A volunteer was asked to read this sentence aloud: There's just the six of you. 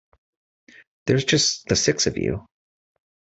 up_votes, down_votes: 2, 0